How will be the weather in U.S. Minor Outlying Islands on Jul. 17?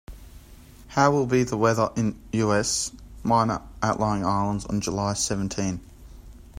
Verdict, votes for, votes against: rejected, 0, 2